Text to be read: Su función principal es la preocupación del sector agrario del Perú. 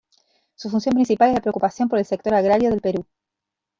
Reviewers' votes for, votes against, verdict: 0, 3, rejected